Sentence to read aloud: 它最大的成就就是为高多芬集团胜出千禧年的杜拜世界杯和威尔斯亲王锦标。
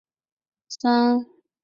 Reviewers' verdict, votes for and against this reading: rejected, 0, 2